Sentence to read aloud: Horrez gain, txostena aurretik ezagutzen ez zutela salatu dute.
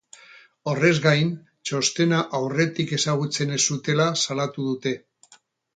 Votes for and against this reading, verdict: 4, 0, accepted